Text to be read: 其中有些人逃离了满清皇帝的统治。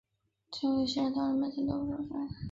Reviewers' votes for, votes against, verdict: 1, 2, rejected